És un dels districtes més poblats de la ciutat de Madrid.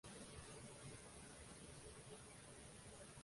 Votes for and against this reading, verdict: 0, 2, rejected